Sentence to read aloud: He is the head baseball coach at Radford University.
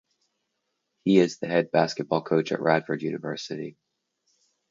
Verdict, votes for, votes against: rejected, 0, 4